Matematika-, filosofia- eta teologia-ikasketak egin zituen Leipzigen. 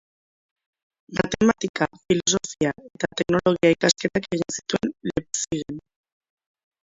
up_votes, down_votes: 1, 3